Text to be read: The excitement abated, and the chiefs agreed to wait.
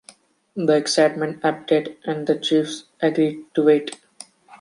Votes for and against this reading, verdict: 1, 2, rejected